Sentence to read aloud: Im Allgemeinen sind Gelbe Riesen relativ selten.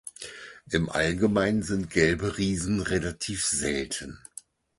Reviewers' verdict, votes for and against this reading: accepted, 4, 0